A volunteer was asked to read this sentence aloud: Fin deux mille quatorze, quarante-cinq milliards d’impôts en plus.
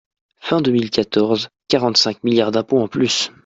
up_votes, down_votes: 2, 0